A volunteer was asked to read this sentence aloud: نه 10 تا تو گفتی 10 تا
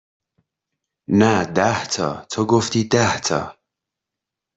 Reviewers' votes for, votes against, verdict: 0, 2, rejected